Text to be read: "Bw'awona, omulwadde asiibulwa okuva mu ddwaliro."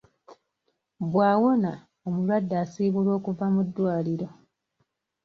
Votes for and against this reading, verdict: 2, 0, accepted